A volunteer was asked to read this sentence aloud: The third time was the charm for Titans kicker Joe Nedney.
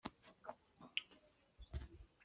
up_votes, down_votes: 0, 2